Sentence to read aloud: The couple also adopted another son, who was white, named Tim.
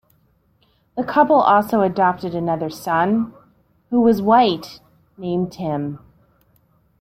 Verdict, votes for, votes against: accepted, 2, 0